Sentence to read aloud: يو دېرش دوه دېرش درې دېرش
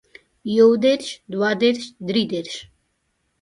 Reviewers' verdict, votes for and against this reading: accepted, 2, 0